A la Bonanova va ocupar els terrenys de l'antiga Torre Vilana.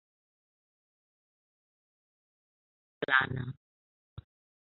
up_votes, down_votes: 0, 2